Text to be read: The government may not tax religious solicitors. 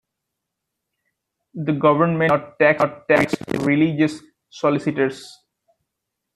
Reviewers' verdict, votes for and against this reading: rejected, 1, 2